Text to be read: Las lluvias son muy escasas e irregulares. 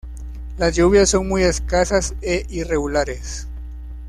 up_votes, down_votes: 1, 2